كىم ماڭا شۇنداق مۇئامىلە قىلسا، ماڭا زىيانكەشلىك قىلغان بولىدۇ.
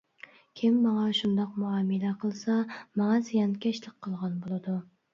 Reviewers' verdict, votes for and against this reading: accepted, 2, 0